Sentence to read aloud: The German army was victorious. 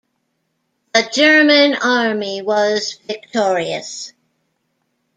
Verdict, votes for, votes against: accepted, 2, 0